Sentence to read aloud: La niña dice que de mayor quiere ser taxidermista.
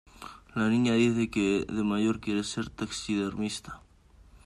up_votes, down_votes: 2, 0